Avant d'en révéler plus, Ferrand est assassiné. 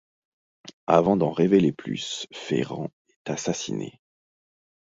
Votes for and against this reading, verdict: 2, 0, accepted